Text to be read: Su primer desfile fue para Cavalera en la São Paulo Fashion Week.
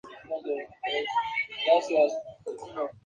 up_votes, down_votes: 0, 2